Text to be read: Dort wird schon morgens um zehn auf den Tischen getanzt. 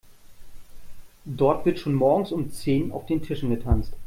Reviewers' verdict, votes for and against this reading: accepted, 2, 0